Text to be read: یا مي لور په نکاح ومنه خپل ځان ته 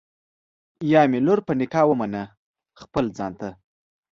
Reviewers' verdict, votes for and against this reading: accepted, 2, 0